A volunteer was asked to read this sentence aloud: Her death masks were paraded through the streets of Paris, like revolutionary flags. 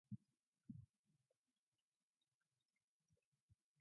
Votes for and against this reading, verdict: 0, 2, rejected